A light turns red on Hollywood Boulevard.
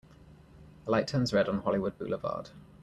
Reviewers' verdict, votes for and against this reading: accepted, 2, 0